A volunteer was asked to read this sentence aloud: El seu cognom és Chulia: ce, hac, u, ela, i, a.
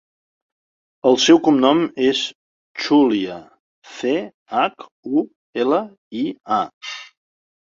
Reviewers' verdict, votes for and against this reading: rejected, 1, 2